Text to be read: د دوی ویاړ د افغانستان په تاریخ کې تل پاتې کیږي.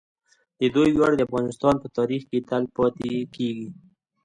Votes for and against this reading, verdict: 2, 1, accepted